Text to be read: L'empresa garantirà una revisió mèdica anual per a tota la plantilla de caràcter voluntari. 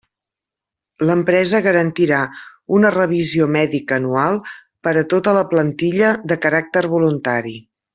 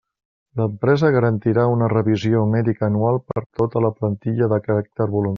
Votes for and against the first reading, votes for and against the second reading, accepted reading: 3, 0, 0, 2, first